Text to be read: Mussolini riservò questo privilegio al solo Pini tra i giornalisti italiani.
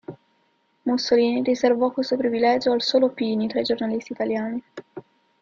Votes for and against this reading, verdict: 0, 2, rejected